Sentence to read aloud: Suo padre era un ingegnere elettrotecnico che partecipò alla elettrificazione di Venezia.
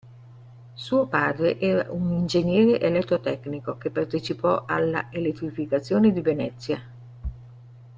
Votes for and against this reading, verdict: 1, 2, rejected